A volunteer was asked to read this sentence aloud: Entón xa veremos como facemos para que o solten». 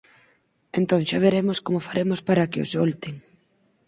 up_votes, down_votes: 2, 4